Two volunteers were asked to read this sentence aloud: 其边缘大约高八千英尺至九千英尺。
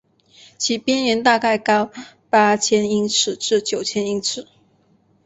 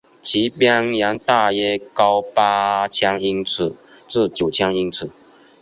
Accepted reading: second